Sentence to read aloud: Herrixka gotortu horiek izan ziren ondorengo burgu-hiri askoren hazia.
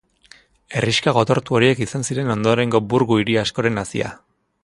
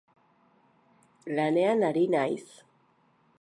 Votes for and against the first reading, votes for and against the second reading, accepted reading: 3, 0, 0, 2, first